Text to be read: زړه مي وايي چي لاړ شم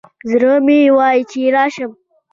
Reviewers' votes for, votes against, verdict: 2, 0, accepted